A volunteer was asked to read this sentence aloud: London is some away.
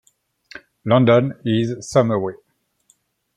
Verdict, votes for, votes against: accepted, 2, 1